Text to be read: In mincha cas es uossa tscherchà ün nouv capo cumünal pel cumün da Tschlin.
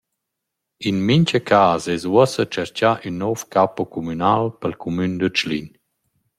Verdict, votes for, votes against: accepted, 2, 0